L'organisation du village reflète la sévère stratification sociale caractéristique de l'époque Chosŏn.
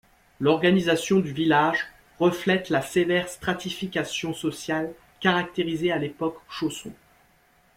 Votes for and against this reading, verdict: 0, 2, rejected